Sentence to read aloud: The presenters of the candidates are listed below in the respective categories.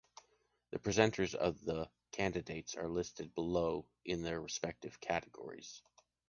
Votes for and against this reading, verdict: 2, 1, accepted